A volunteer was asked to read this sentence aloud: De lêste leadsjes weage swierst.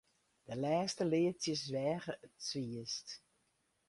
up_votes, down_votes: 2, 2